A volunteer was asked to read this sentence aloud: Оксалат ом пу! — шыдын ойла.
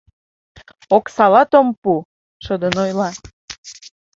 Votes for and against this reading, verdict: 2, 0, accepted